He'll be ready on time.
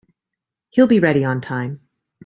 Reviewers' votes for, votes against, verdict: 2, 0, accepted